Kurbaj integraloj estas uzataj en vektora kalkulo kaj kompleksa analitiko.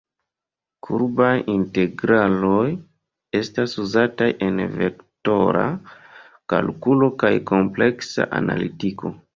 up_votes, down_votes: 0, 2